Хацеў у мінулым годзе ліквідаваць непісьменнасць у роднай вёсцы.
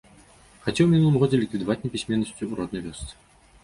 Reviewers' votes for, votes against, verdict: 2, 0, accepted